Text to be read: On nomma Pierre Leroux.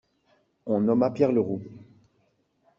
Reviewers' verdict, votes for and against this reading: accepted, 2, 0